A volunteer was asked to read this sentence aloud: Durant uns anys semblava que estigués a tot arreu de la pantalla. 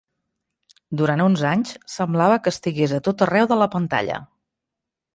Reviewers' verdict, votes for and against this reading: accepted, 3, 0